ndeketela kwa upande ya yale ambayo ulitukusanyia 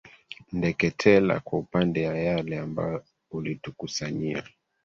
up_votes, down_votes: 1, 2